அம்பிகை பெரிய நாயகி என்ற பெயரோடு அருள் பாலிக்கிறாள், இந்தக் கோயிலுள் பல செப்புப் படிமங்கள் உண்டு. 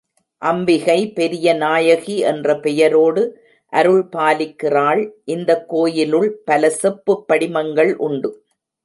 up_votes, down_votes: 2, 0